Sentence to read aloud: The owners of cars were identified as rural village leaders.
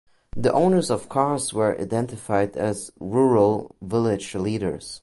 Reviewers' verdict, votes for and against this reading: accepted, 2, 0